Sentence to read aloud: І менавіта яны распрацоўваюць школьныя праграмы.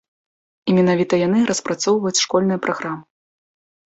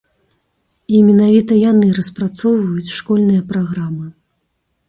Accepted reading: second